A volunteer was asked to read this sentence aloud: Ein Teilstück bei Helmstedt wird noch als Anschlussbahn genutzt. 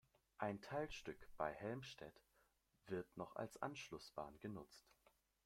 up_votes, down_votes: 2, 0